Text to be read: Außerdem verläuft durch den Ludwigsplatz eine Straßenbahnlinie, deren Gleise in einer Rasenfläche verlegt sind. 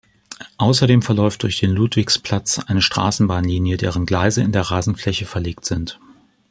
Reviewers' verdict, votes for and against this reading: rejected, 1, 2